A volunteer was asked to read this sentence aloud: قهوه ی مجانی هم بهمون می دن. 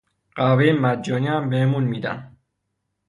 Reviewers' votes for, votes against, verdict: 3, 3, rejected